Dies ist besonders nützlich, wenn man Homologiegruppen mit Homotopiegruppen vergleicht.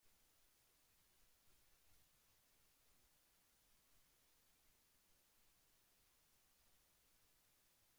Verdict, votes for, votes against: rejected, 0, 2